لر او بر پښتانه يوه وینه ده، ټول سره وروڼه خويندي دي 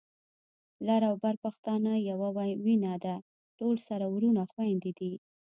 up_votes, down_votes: 2, 0